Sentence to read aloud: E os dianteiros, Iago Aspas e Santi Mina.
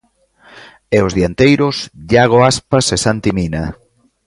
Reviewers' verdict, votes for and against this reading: accepted, 2, 0